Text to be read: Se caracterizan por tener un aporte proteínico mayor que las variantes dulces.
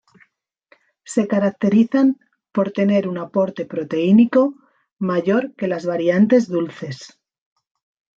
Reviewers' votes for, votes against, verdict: 2, 0, accepted